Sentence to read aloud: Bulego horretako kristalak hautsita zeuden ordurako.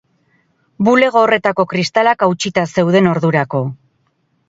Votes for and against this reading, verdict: 6, 0, accepted